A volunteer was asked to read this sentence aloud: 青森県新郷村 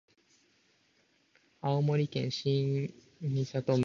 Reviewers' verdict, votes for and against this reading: rejected, 0, 2